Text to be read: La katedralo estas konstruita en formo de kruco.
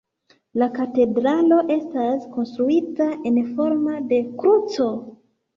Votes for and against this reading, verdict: 2, 0, accepted